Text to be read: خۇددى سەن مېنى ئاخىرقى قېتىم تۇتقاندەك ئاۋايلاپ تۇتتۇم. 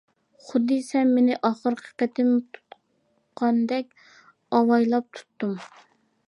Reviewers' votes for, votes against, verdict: 2, 0, accepted